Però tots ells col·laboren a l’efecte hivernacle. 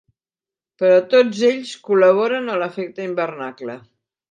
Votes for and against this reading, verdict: 0, 2, rejected